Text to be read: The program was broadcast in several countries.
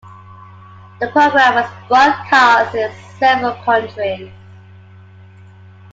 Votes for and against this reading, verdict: 2, 1, accepted